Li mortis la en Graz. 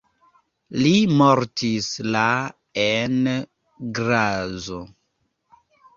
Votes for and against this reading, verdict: 0, 2, rejected